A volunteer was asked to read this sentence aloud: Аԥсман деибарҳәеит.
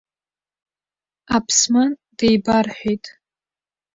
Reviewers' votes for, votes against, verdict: 2, 0, accepted